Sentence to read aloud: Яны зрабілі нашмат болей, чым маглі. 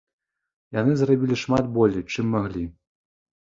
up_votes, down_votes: 0, 2